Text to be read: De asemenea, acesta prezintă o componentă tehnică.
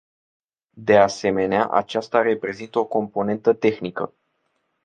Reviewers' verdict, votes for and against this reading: rejected, 1, 2